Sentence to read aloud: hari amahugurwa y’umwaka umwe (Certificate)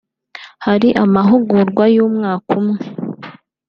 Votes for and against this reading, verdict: 0, 2, rejected